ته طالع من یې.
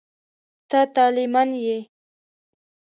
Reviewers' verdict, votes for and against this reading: accepted, 2, 0